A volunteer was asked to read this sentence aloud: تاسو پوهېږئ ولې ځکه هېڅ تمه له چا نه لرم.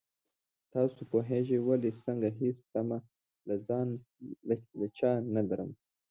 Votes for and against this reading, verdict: 0, 2, rejected